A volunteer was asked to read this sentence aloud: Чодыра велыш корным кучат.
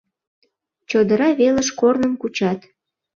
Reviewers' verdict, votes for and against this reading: accepted, 2, 0